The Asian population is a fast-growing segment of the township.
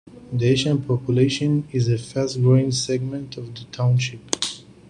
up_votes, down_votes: 2, 1